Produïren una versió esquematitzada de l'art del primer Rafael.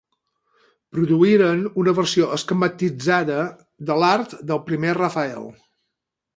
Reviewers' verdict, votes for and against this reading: accepted, 6, 0